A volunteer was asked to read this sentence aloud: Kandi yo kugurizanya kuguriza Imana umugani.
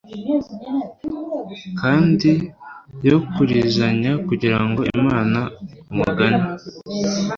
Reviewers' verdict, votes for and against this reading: rejected, 1, 2